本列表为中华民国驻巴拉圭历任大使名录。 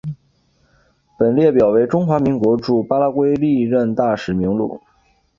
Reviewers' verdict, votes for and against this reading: accepted, 2, 0